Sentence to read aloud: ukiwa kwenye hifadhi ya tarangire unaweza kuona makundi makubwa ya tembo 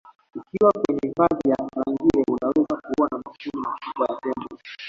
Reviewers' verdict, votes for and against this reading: rejected, 0, 2